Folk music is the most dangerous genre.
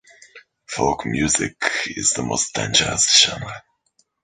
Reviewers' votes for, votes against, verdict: 2, 0, accepted